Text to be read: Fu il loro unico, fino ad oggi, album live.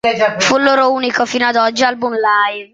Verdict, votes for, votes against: accepted, 2, 0